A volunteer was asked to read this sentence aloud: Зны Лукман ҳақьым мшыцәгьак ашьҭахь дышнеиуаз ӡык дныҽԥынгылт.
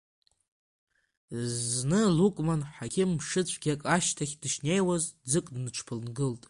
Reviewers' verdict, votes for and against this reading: rejected, 0, 2